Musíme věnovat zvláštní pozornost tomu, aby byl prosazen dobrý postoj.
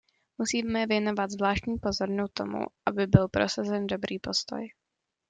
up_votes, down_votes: 1, 2